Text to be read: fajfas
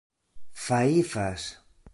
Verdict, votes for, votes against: rejected, 0, 2